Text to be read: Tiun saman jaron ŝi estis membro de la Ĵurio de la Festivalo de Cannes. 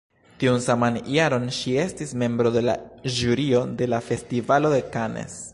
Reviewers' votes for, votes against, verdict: 0, 2, rejected